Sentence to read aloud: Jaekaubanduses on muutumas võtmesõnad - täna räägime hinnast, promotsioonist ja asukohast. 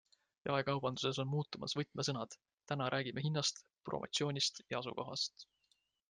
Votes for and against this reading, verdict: 3, 0, accepted